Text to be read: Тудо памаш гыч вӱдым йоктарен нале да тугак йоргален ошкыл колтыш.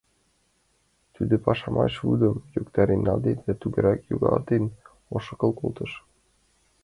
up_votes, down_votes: 0, 2